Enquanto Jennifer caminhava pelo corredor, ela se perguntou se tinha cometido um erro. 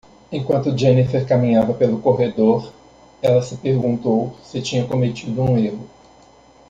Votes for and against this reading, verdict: 2, 0, accepted